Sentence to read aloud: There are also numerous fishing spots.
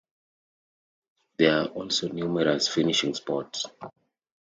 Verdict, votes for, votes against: rejected, 0, 2